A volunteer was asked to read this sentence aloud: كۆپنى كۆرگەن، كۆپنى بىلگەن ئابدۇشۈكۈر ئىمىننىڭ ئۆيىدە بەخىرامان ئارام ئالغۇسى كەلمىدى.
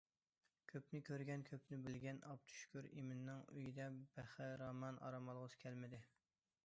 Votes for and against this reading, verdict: 2, 1, accepted